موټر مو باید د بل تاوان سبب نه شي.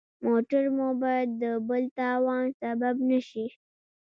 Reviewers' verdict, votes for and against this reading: rejected, 1, 2